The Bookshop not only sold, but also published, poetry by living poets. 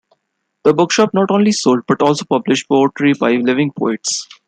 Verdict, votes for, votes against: accepted, 2, 1